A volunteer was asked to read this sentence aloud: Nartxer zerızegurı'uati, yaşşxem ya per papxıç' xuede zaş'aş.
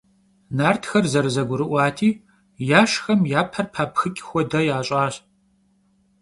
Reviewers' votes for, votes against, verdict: 1, 2, rejected